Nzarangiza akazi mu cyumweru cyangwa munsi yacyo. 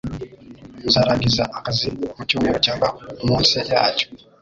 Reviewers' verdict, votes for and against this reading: rejected, 0, 2